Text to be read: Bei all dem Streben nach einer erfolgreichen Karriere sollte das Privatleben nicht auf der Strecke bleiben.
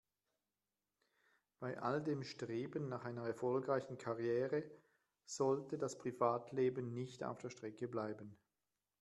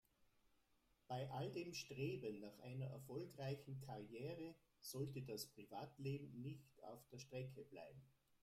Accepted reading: first